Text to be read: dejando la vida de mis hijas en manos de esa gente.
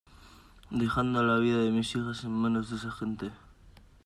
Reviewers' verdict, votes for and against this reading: accepted, 2, 0